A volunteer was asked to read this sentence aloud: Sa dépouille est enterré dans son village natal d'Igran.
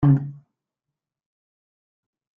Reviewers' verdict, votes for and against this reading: rejected, 0, 2